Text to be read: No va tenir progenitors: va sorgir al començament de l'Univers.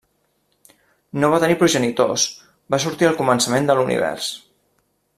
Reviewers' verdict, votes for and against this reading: rejected, 1, 2